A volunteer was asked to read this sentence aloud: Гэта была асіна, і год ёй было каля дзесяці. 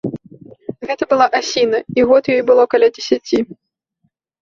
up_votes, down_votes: 2, 0